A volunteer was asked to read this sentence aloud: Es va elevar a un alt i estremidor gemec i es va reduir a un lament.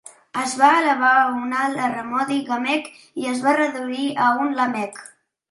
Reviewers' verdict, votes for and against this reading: rejected, 0, 2